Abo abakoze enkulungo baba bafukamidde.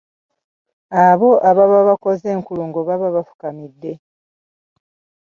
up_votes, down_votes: 0, 2